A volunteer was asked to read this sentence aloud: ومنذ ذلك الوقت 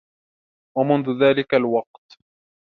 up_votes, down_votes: 2, 0